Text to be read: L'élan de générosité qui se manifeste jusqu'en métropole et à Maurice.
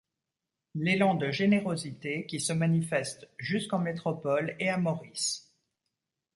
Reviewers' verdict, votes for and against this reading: accepted, 2, 0